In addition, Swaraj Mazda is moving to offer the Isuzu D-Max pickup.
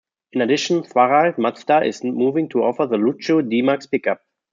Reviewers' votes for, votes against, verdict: 0, 2, rejected